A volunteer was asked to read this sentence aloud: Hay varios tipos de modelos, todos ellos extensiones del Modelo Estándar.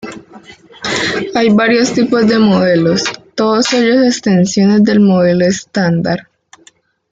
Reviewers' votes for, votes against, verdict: 0, 2, rejected